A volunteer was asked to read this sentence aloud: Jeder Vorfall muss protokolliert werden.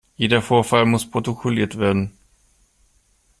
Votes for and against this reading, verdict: 2, 0, accepted